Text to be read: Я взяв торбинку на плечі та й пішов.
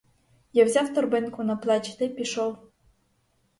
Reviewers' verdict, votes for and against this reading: accepted, 4, 0